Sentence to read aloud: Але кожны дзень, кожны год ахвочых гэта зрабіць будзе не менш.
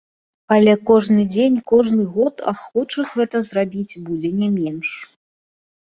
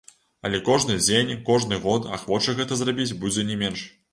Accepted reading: first